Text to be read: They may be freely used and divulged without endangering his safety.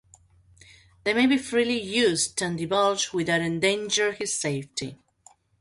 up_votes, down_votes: 0, 2